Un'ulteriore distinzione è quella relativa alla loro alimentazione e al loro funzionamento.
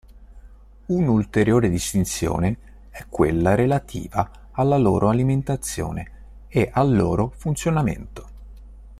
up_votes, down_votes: 2, 0